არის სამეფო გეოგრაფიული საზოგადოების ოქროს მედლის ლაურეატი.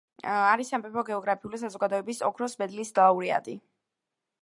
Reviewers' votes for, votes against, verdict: 3, 1, accepted